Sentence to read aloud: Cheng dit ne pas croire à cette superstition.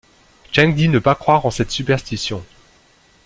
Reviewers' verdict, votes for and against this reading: accepted, 2, 0